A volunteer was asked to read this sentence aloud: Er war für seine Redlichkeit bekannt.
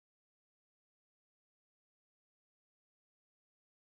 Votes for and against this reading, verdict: 0, 6, rejected